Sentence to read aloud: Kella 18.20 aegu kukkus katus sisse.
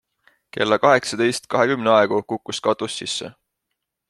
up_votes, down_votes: 0, 2